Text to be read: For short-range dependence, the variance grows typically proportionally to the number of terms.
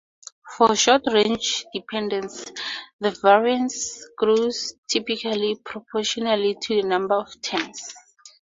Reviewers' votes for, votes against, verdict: 0, 2, rejected